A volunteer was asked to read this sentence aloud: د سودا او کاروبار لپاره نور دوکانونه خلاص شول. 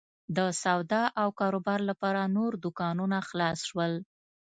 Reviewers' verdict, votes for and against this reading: accepted, 2, 0